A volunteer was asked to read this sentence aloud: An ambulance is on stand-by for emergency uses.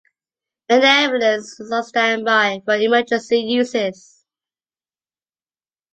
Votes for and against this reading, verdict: 2, 1, accepted